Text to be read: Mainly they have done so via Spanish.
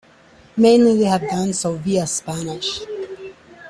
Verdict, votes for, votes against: accepted, 2, 1